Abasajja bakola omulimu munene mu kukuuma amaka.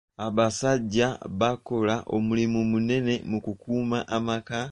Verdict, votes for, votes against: rejected, 1, 2